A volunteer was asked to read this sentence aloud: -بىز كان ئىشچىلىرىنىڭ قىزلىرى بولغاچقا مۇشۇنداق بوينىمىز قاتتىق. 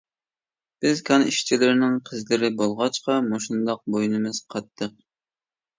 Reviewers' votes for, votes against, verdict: 2, 0, accepted